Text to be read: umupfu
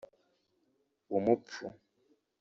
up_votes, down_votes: 1, 2